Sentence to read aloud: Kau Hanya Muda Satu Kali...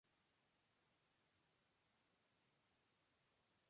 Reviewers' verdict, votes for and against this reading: rejected, 0, 2